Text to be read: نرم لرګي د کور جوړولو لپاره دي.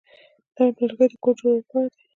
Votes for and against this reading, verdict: 2, 0, accepted